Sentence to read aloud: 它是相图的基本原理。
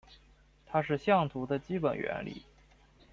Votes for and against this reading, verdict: 2, 0, accepted